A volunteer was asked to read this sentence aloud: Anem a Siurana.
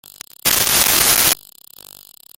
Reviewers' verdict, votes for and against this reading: rejected, 0, 2